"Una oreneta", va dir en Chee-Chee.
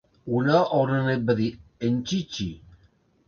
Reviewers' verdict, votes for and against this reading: rejected, 1, 2